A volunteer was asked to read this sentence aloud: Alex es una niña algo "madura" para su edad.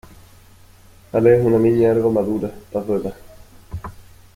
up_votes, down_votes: 1, 2